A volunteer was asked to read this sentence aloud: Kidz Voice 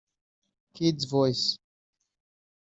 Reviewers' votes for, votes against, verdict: 1, 2, rejected